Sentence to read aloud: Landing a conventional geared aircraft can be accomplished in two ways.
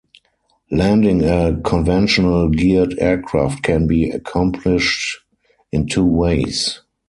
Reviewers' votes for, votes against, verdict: 4, 0, accepted